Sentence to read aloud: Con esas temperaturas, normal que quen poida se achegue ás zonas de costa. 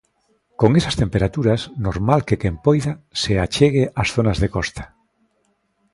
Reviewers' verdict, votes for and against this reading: accepted, 2, 0